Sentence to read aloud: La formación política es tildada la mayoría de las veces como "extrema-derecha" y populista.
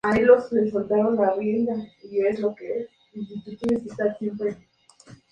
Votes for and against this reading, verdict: 0, 2, rejected